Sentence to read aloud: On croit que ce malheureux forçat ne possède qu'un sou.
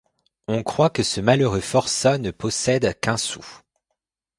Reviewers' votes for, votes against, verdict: 2, 0, accepted